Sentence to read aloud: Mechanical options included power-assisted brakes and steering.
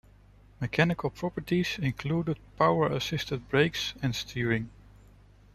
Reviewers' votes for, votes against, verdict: 1, 2, rejected